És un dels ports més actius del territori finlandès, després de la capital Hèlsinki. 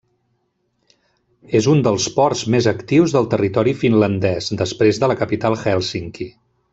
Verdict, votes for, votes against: accepted, 3, 0